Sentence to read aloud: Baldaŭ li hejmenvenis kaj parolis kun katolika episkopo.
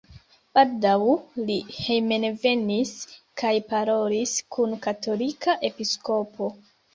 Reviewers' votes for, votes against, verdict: 0, 2, rejected